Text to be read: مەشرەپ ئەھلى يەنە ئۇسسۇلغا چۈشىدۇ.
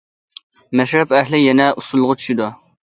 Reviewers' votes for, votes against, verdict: 2, 0, accepted